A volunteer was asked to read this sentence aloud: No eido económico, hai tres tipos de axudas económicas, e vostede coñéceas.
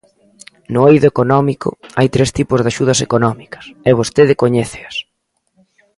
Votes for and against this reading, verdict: 6, 0, accepted